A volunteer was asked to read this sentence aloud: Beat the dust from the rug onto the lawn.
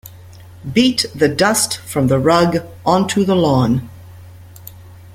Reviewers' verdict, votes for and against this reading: accepted, 2, 0